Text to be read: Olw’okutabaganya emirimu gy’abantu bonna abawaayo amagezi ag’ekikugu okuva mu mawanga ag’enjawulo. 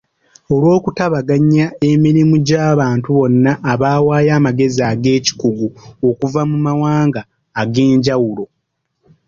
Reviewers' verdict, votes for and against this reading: rejected, 0, 2